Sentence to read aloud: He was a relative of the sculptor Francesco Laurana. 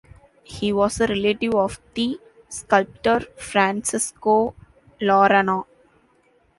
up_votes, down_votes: 0, 2